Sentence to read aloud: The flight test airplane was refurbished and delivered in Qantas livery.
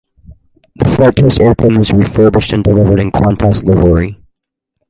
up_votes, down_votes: 2, 2